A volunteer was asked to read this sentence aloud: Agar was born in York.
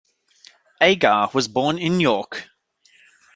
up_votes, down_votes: 2, 0